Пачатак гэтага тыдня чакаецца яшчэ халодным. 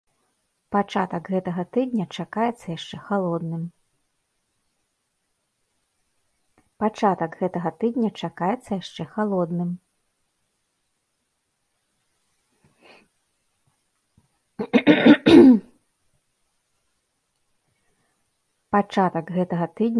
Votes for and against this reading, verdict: 0, 2, rejected